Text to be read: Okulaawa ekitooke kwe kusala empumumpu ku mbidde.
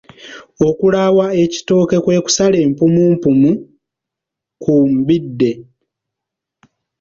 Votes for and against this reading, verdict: 0, 2, rejected